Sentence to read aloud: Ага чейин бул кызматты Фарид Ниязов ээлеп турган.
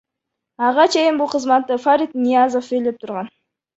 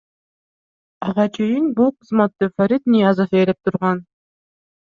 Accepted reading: second